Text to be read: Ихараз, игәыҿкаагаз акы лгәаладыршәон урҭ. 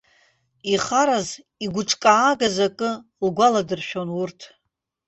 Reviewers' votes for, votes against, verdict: 1, 2, rejected